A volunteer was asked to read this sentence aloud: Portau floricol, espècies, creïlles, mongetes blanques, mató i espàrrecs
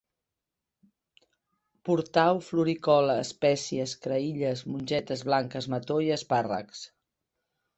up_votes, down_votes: 2, 0